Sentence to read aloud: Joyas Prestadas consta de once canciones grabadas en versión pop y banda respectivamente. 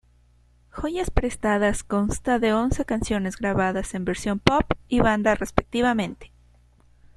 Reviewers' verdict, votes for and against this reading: accepted, 2, 0